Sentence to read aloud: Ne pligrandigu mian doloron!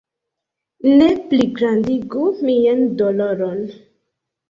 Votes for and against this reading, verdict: 3, 1, accepted